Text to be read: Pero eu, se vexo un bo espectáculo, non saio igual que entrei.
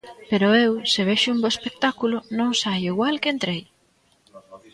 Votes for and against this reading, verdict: 0, 2, rejected